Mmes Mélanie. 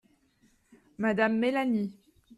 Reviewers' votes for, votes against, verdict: 1, 2, rejected